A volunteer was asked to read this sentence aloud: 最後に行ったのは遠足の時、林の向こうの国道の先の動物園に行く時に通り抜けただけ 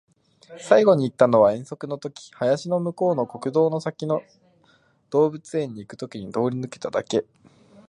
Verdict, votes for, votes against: accepted, 2, 0